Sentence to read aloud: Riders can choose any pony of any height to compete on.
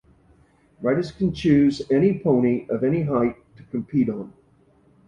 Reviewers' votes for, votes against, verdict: 2, 0, accepted